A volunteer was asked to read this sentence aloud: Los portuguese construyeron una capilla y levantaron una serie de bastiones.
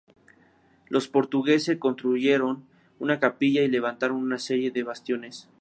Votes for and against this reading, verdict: 2, 0, accepted